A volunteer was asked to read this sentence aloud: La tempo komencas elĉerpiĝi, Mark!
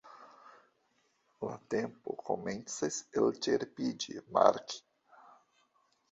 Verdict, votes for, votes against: accepted, 2, 1